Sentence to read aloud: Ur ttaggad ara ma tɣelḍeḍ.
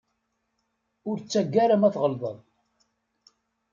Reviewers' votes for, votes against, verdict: 0, 2, rejected